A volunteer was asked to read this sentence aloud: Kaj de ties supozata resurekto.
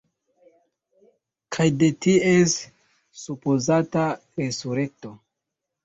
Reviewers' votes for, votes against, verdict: 1, 2, rejected